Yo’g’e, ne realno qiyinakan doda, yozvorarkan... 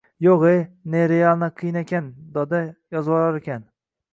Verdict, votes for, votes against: rejected, 1, 2